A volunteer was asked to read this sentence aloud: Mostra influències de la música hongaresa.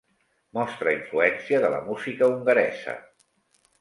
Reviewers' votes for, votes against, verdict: 0, 2, rejected